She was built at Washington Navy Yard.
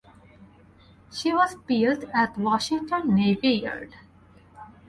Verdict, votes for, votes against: accepted, 4, 0